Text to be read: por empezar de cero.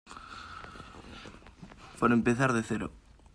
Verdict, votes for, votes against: accepted, 2, 0